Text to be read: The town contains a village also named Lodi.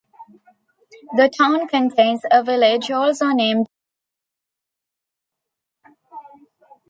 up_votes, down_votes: 1, 2